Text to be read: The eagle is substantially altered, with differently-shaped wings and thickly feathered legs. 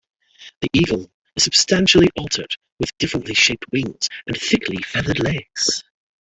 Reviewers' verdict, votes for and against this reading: accepted, 3, 2